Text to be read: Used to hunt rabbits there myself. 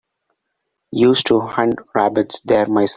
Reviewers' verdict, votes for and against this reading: rejected, 2, 6